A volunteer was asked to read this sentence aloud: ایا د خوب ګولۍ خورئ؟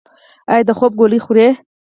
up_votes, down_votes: 4, 0